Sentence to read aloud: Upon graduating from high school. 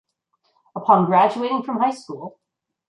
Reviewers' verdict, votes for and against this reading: accepted, 2, 0